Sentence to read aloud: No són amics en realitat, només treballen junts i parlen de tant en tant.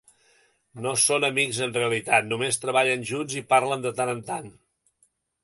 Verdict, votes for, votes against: accepted, 2, 0